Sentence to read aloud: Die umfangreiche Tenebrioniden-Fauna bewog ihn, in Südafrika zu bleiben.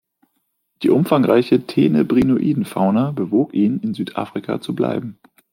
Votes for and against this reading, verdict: 2, 0, accepted